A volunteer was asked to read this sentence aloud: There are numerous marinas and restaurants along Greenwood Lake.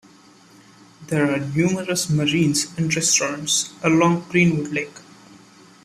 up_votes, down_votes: 2, 1